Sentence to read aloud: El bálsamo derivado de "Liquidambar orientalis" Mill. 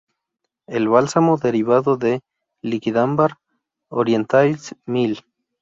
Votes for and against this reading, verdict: 0, 2, rejected